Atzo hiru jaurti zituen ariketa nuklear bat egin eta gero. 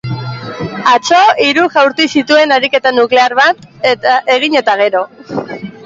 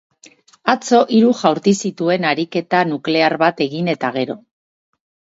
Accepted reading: second